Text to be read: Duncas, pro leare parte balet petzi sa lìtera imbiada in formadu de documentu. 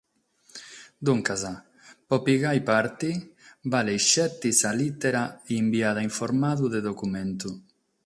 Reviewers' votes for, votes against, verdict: 6, 0, accepted